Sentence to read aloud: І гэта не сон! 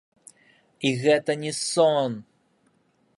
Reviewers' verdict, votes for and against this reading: rejected, 1, 2